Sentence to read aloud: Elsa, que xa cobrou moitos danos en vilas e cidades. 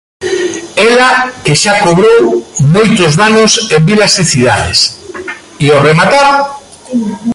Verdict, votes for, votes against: rejected, 0, 2